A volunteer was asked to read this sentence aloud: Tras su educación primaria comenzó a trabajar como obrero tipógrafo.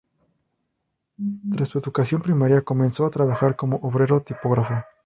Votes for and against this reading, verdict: 0, 2, rejected